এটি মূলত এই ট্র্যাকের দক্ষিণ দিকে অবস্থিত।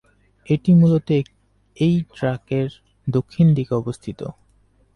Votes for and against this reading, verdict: 2, 6, rejected